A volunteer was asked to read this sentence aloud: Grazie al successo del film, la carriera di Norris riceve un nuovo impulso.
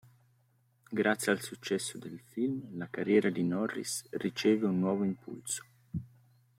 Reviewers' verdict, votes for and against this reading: accepted, 2, 0